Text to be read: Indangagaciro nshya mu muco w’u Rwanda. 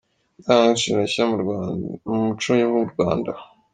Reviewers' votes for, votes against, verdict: 1, 2, rejected